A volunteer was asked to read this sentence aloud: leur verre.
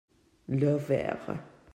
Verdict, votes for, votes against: accepted, 2, 1